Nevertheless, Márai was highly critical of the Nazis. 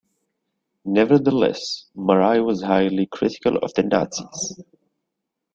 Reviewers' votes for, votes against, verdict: 2, 1, accepted